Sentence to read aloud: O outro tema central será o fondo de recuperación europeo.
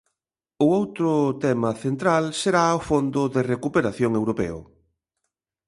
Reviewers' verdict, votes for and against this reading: accepted, 2, 0